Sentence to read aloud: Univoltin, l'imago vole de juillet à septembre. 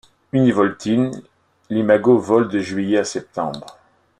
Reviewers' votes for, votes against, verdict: 0, 2, rejected